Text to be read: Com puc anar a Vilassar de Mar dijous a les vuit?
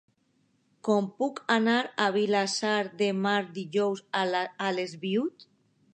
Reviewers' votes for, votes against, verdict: 2, 0, accepted